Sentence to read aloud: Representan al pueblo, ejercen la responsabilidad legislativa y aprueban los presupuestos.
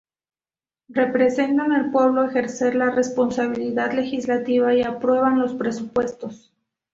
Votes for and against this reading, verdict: 2, 4, rejected